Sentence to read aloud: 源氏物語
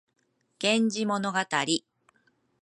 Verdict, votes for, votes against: rejected, 0, 2